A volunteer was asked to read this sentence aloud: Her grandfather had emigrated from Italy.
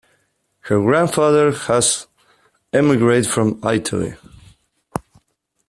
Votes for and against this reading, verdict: 0, 2, rejected